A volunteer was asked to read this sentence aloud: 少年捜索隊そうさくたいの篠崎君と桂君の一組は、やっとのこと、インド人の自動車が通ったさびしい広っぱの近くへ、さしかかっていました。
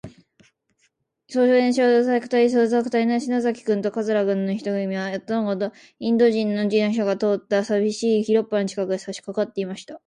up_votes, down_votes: 1, 2